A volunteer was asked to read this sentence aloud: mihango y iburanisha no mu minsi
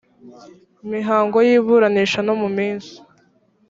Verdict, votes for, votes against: accepted, 2, 0